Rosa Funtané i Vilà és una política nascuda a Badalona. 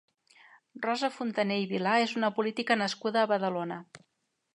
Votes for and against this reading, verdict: 2, 1, accepted